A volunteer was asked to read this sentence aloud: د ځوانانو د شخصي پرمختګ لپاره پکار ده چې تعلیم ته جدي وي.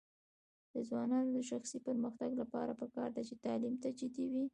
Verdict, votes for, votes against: rejected, 1, 2